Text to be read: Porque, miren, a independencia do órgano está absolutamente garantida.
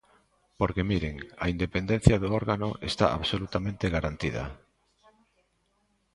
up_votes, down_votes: 2, 0